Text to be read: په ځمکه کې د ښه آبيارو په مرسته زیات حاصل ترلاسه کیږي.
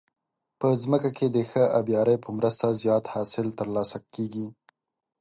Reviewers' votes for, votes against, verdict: 6, 0, accepted